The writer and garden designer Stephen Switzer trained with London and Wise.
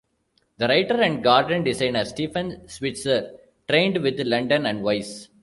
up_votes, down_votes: 1, 2